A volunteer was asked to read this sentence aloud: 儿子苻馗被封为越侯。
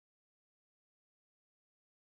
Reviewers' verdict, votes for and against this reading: rejected, 0, 2